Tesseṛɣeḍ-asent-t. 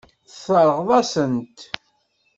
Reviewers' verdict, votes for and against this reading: rejected, 0, 2